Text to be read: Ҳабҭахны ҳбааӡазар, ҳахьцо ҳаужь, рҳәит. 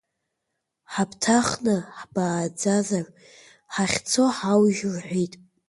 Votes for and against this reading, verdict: 1, 2, rejected